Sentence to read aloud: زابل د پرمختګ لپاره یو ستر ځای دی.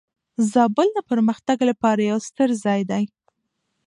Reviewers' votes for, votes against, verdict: 2, 0, accepted